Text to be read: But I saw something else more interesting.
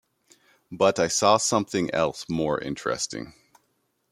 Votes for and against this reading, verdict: 2, 0, accepted